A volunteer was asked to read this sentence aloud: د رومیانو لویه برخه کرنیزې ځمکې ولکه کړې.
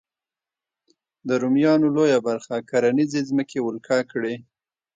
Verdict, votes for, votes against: accepted, 2, 0